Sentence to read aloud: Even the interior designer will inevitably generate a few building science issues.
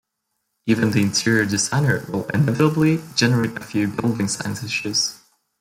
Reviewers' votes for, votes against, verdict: 0, 2, rejected